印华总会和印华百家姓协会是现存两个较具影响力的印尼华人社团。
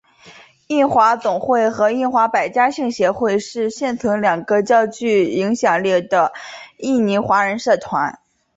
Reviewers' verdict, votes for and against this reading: accepted, 2, 0